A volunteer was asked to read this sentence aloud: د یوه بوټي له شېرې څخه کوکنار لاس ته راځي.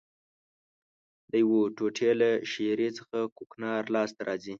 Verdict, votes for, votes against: rejected, 0, 2